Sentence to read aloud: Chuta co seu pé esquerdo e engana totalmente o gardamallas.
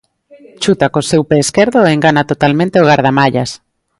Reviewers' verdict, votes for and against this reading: rejected, 1, 2